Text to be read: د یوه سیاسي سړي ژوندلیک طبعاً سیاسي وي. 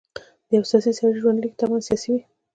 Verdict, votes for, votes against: accepted, 2, 1